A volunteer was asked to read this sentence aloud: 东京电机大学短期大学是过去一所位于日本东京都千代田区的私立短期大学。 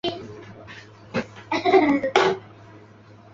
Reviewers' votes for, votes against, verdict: 0, 2, rejected